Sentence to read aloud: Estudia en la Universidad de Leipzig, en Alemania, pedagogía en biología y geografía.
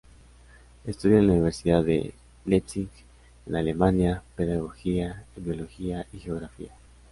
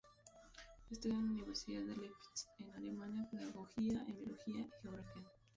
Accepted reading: first